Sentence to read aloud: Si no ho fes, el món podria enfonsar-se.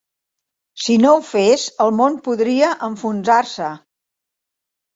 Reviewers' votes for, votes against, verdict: 3, 1, accepted